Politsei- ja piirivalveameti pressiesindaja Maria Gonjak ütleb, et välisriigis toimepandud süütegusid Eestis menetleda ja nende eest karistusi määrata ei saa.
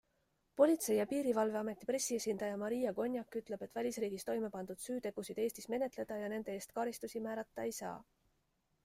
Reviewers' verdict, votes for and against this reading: accepted, 2, 0